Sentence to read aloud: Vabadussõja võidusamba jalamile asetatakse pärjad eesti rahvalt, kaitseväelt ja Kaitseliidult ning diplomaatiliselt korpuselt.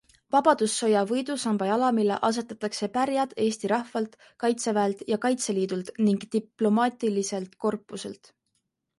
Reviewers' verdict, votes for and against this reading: accepted, 2, 0